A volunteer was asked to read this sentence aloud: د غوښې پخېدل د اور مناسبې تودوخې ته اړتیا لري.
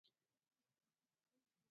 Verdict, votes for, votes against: rejected, 0, 2